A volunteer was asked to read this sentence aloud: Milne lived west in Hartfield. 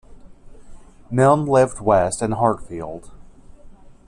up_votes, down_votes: 2, 0